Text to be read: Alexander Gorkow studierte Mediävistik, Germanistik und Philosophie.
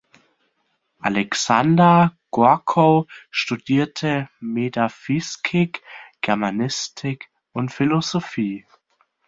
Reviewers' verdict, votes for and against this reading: rejected, 0, 2